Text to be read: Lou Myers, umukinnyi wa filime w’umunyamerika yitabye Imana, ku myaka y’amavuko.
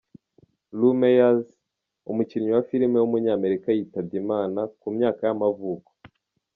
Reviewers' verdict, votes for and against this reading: accepted, 2, 0